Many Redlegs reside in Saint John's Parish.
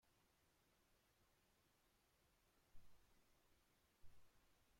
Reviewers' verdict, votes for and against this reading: rejected, 0, 2